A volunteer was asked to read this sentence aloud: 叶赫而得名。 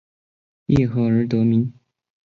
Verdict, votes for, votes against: accepted, 3, 0